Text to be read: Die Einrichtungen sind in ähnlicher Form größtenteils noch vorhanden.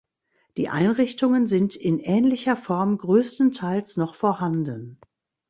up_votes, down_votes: 2, 0